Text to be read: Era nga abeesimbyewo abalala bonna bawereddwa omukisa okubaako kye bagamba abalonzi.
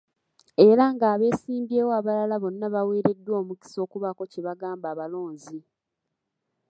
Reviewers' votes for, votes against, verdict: 2, 1, accepted